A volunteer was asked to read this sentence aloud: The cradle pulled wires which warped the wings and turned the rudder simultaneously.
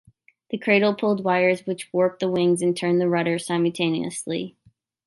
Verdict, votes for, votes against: accepted, 2, 0